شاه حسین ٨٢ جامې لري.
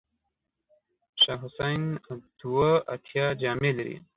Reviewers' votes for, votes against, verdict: 0, 2, rejected